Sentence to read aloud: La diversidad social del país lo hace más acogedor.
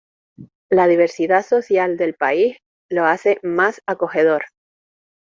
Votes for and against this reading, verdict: 2, 0, accepted